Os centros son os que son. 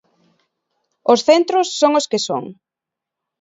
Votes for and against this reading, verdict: 2, 0, accepted